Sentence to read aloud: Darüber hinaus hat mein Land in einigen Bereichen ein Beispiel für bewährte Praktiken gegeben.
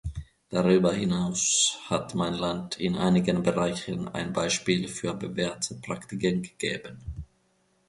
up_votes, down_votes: 2, 0